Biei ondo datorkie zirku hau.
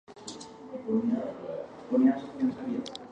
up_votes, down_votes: 0, 2